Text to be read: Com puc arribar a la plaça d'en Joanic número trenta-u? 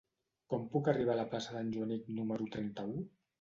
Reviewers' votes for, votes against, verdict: 2, 0, accepted